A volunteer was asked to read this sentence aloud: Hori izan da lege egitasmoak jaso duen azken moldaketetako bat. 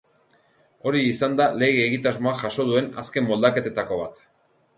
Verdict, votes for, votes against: accepted, 2, 0